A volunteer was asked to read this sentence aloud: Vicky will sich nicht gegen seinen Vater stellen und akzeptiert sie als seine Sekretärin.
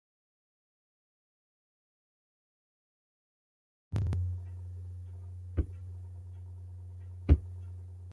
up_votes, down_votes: 0, 2